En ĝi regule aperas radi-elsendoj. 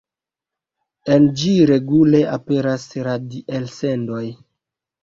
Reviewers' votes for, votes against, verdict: 1, 2, rejected